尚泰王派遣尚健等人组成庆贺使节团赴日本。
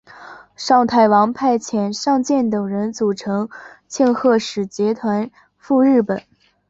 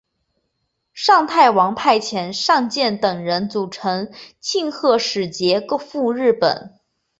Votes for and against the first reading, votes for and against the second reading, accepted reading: 2, 1, 0, 2, first